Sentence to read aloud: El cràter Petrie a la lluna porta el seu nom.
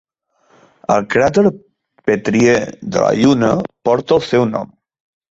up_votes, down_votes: 0, 2